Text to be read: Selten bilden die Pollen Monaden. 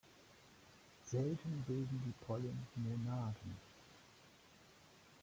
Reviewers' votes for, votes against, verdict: 2, 0, accepted